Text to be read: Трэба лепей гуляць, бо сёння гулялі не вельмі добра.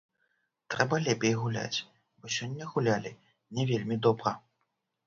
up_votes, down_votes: 1, 2